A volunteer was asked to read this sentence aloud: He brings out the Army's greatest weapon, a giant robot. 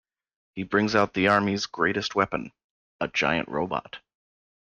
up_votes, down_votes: 2, 1